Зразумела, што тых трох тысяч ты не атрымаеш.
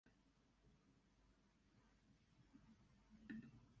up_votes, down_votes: 0, 2